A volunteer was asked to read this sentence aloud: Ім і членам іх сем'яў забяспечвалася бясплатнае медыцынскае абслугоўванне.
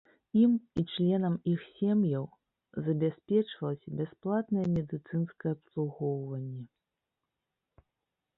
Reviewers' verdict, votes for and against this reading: accepted, 2, 1